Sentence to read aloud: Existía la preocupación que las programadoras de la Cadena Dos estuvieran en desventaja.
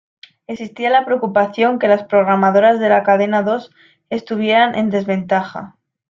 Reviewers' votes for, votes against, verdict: 2, 0, accepted